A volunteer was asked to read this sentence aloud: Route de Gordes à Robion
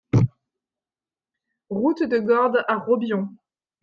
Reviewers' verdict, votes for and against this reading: accepted, 2, 0